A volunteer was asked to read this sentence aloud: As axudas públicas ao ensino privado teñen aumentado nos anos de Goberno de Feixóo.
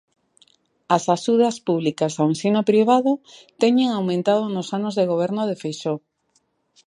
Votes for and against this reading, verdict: 2, 0, accepted